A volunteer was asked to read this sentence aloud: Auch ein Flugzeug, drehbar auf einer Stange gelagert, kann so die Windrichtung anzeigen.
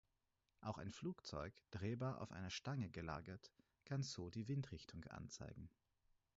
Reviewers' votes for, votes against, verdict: 4, 0, accepted